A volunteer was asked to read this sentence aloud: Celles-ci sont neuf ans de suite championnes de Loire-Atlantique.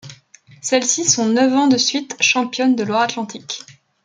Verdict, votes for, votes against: accepted, 2, 0